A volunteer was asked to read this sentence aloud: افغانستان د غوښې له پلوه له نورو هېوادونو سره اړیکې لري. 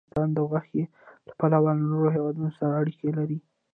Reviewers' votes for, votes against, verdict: 2, 0, accepted